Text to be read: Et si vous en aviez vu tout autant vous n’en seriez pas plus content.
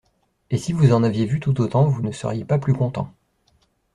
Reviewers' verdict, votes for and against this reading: rejected, 1, 2